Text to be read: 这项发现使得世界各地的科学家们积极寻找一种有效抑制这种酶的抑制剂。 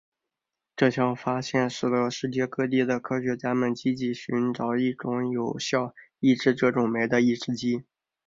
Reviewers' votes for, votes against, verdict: 2, 0, accepted